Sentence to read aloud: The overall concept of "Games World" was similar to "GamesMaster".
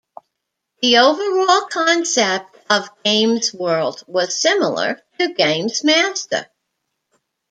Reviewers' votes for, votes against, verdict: 2, 0, accepted